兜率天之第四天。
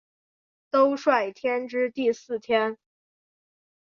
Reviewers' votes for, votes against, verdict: 2, 0, accepted